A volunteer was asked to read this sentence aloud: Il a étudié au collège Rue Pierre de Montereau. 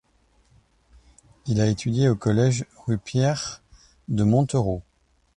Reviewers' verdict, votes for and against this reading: accepted, 2, 0